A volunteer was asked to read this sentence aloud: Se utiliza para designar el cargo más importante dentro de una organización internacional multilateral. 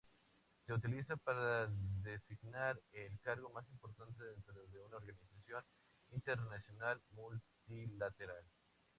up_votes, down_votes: 2, 0